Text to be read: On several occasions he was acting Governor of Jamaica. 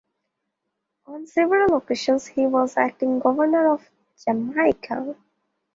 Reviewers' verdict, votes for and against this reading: accepted, 2, 1